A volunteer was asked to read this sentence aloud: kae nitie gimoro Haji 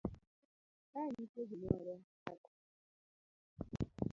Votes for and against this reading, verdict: 0, 2, rejected